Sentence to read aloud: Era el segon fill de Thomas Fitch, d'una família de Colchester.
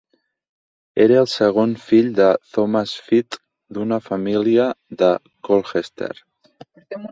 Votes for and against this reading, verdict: 2, 4, rejected